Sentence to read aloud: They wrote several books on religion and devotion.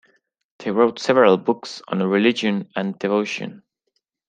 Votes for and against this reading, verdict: 2, 0, accepted